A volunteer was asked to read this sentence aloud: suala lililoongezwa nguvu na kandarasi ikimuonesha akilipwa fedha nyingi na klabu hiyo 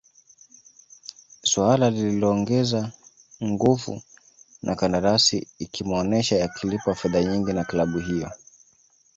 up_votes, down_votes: 2, 1